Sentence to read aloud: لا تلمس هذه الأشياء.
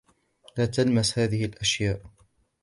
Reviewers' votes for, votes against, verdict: 2, 0, accepted